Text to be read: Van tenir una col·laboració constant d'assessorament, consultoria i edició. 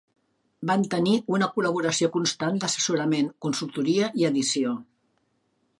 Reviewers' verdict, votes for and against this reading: accepted, 2, 0